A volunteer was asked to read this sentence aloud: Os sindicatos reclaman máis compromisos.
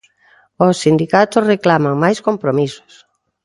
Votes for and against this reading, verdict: 3, 0, accepted